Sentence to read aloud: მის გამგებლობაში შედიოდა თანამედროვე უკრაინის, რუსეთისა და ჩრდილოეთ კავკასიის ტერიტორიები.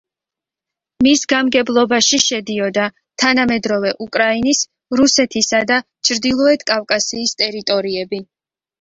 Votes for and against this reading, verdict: 2, 0, accepted